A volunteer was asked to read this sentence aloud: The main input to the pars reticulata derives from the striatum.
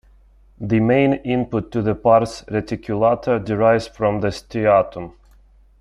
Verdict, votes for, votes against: accepted, 2, 0